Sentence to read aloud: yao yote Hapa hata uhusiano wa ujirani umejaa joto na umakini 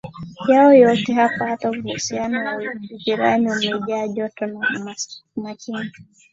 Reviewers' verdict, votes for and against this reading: accepted, 3, 0